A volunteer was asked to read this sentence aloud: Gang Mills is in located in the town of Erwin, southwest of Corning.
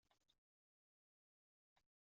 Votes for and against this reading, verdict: 0, 2, rejected